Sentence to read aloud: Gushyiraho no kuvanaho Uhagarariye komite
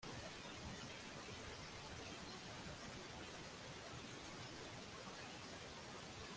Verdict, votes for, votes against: rejected, 0, 2